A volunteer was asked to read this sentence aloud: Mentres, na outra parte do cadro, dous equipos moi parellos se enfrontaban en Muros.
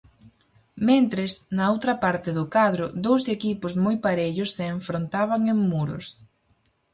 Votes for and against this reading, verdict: 4, 0, accepted